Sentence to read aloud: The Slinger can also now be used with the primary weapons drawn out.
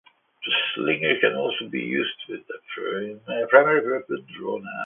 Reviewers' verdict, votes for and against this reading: rejected, 0, 2